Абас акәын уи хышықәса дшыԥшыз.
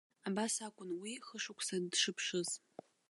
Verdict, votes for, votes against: rejected, 1, 2